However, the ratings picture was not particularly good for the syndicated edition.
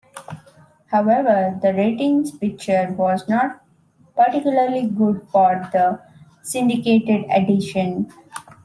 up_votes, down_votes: 2, 0